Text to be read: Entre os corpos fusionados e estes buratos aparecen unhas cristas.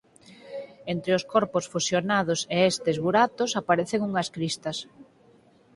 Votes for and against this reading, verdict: 0, 4, rejected